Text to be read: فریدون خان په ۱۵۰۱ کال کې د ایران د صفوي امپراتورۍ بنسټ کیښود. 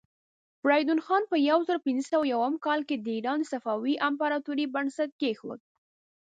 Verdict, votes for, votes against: rejected, 0, 2